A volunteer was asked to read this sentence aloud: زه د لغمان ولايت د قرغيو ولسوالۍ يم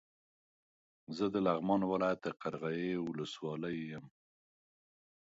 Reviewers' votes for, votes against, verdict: 2, 0, accepted